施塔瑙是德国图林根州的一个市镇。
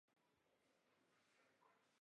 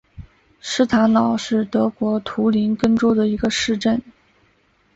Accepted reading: second